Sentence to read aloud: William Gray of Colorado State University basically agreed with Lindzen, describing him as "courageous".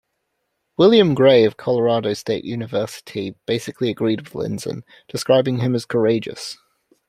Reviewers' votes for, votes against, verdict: 2, 0, accepted